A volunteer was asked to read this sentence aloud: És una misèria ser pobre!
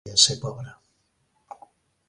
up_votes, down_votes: 0, 2